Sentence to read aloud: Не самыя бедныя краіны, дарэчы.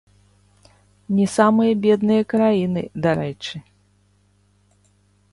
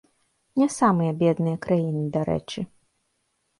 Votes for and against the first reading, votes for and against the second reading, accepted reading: 1, 2, 2, 0, second